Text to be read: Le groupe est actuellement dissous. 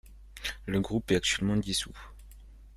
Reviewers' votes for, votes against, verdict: 2, 0, accepted